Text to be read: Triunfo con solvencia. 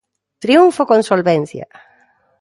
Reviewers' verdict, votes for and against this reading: accepted, 2, 0